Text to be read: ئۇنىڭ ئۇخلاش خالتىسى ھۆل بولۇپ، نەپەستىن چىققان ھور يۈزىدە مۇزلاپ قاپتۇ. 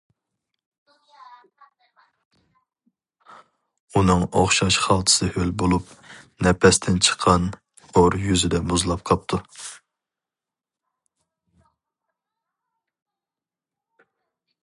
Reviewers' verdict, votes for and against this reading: rejected, 0, 2